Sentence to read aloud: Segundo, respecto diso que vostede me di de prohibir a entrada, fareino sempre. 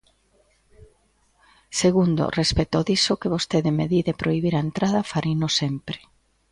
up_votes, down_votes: 2, 0